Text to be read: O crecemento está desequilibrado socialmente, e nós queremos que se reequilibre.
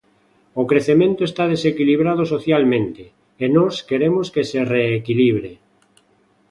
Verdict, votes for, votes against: accepted, 2, 0